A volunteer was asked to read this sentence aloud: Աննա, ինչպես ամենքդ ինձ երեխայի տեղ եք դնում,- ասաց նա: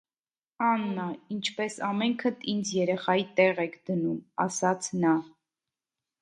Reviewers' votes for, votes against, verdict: 2, 0, accepted